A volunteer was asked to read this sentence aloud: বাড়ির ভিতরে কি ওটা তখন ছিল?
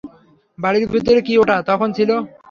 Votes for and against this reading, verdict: 3, 0, accepted